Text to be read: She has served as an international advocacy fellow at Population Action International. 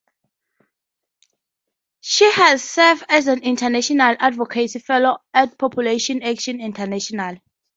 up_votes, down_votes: 4, 0